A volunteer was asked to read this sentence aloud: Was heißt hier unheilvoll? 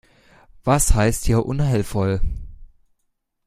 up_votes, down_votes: 2, 0